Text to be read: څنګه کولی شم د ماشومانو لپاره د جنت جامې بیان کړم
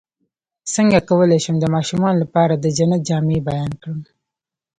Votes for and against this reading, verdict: 2, 0, accepted